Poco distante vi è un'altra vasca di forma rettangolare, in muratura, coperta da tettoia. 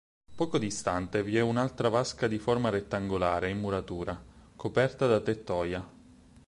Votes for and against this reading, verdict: 4, 0, accepted